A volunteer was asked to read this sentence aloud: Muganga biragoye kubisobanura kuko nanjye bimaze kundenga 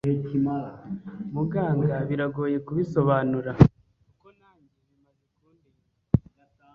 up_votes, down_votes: 1, 2